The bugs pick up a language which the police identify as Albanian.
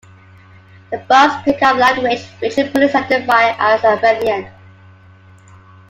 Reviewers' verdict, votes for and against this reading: rejected, 0, 2